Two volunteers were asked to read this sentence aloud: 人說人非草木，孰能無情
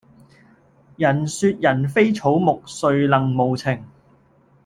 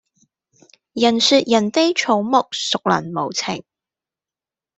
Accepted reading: second